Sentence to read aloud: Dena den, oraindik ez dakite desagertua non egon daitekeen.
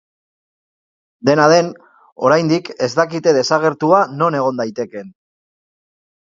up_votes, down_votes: 2, 0